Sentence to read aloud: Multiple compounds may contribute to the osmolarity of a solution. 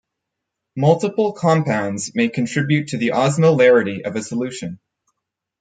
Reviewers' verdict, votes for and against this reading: accepted, 4, 0